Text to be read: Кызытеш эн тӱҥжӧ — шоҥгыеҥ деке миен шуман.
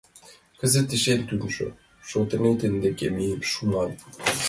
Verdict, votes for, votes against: rejected, 0, 2